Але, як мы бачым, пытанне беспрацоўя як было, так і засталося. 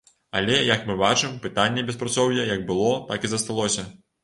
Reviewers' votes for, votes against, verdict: 2, 0, accepted